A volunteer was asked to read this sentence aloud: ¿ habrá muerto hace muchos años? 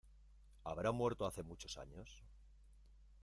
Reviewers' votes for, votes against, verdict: 1, 2, rejected